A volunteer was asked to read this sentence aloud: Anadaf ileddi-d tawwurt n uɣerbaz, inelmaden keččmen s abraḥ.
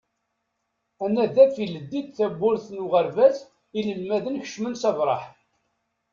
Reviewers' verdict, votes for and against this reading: rejected, 1, 2